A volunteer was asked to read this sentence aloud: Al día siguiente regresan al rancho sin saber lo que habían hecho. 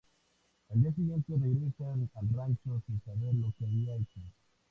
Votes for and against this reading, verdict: 2, 0, accepted